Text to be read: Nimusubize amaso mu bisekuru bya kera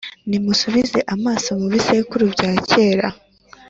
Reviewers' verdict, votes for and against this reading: accepted, 2, 0